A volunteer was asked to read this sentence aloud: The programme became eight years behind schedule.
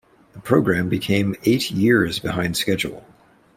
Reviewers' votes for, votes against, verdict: 2, 1, accepted